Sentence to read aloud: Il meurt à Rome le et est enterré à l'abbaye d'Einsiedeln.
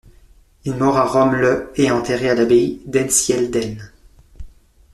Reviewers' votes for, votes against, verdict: 1, 2, rejected